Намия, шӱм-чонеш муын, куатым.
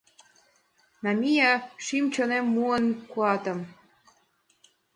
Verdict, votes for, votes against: accepted, 2, 0